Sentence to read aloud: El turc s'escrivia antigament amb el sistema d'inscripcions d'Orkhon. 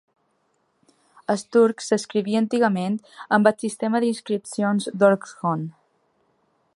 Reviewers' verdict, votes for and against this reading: rejected, 0, 2